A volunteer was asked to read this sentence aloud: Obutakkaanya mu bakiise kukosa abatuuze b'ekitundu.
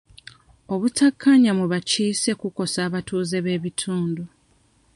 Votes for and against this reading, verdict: 1, 2, rejected